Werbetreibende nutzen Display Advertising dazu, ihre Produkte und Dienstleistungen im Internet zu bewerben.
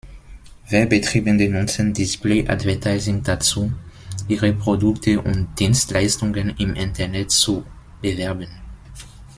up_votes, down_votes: 0, 2